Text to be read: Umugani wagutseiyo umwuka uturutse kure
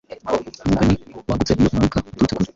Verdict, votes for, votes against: rejected, 1, 2